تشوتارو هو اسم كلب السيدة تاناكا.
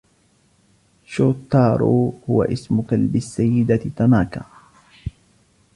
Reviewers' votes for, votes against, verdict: 0, 2, rejected